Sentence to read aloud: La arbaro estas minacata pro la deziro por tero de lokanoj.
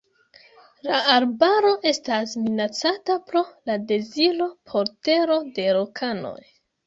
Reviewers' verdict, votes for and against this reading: accepted, 2, 1